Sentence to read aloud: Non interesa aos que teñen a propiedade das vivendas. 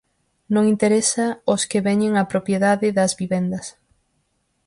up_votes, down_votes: 0, 4